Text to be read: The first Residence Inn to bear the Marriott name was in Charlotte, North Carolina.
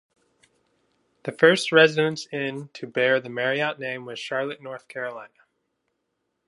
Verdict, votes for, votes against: accepted, 2, 0